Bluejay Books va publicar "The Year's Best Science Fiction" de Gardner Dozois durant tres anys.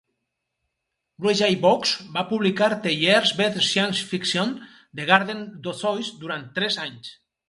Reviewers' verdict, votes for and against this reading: rejected, 2, 4